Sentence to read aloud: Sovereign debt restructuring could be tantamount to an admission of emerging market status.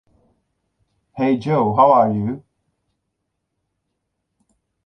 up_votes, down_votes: 0, 2